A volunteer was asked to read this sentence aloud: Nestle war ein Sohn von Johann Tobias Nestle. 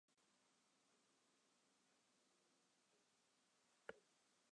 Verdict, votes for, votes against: rejected, 0, 2